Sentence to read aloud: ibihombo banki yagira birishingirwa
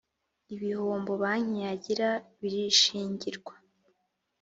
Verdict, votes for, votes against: accepted, 2, 0